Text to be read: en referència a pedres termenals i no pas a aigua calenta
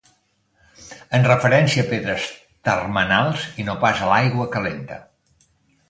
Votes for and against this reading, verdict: 2, 3, rejected